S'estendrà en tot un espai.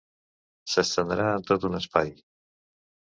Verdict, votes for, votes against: accepted, 2, 1